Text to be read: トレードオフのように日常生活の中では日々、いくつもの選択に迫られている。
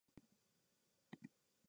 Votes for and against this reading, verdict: 0, 2, rejected